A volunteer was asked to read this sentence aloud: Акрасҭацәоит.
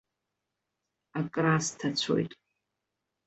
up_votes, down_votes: 2, 0